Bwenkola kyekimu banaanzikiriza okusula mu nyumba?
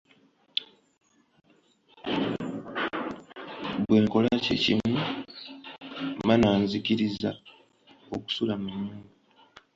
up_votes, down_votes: 1, 2